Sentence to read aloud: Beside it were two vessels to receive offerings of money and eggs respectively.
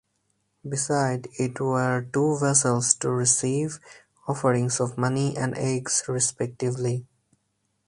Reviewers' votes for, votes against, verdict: 4, 0, accepted